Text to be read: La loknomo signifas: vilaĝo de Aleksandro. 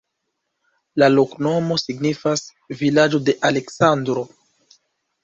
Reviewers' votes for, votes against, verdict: 2, 0, accepted